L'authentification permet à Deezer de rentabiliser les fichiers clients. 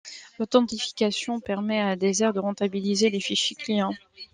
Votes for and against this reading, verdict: 2, 0, accepted